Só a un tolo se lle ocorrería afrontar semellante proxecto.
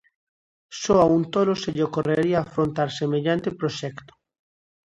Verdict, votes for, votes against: accepted, 2, 0